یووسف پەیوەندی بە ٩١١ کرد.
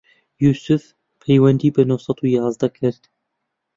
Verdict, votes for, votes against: rejected, 0, 2